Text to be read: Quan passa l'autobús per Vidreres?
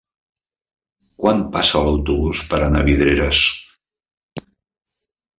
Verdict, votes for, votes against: rejected, 0, 2